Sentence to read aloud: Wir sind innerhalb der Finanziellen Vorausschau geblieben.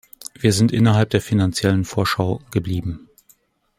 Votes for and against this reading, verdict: 1, 2, rejected